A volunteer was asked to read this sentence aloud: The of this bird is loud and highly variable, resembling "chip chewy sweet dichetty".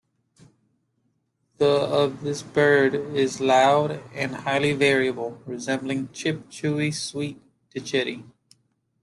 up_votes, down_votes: 1, 2